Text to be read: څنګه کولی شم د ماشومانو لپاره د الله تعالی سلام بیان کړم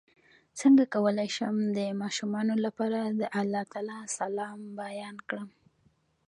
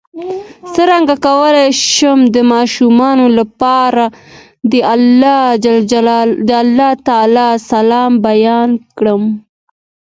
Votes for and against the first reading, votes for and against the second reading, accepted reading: 2, 0, 0, 2, first